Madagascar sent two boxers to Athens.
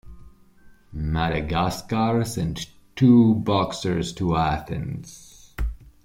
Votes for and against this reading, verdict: 2, 0, accepted